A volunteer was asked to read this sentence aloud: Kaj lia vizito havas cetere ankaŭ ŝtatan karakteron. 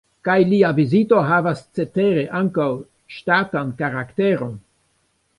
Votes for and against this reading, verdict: 0, 2, rejected